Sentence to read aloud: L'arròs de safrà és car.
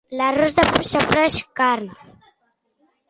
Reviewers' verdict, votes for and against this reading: rejected, 1, 2